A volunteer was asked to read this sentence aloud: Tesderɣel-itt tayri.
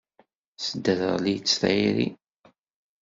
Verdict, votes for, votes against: accepted, 2, 0